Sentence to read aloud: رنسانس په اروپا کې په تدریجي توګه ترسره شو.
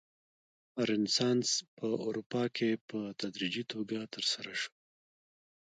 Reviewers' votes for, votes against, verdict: 0, 2, rejected